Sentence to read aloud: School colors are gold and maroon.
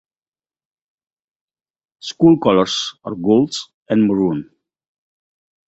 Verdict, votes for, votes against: accepted, 2, 0